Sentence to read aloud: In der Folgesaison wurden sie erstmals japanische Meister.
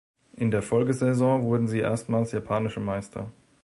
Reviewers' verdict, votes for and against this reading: accepted, 2, 0